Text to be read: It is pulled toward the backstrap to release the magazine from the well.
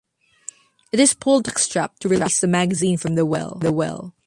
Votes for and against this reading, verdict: 0, 4, rejected